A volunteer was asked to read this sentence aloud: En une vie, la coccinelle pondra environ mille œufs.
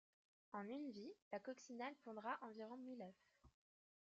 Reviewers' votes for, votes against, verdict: 2, 1, accepted